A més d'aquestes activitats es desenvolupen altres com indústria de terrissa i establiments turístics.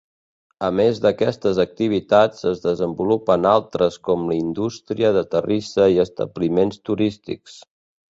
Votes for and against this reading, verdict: 2, 3, rejected